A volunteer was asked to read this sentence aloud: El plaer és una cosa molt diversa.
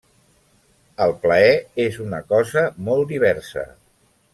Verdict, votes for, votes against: rejected, 0, 2